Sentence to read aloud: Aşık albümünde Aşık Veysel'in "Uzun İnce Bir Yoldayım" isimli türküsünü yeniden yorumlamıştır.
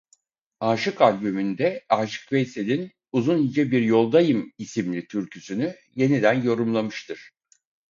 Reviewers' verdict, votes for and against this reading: accepted, 4, 0